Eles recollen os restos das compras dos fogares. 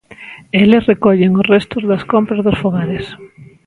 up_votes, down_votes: 2, 0